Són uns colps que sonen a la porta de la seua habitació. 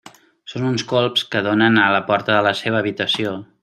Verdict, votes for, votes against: rejected, 1, 2